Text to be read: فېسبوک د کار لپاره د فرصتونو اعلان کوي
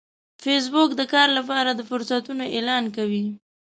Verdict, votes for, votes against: accepted, 2, 0